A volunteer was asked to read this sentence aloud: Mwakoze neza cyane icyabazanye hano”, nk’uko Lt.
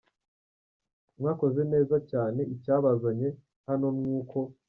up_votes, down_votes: 0, 2